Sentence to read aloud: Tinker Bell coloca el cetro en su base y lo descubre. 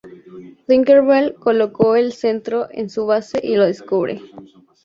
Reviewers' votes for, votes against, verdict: 0, 4, rejected